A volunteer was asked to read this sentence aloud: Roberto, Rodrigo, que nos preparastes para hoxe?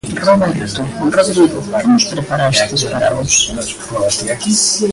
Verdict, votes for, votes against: rejected, 0, 2